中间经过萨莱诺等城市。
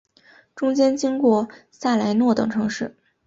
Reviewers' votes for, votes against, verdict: 1, 2, rejected